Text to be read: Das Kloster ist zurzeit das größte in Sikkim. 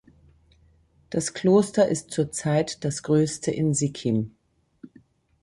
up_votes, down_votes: 2, 0